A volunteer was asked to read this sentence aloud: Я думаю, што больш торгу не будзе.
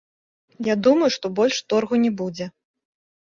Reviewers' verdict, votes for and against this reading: accepted, 2, 0